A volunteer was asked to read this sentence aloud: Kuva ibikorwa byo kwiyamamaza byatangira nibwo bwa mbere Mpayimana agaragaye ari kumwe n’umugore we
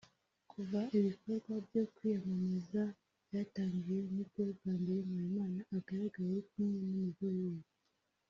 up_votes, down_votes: 0, 2